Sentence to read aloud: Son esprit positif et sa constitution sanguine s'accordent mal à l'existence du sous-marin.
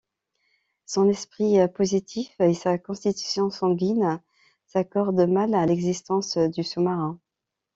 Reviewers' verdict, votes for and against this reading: rejected, 1, 2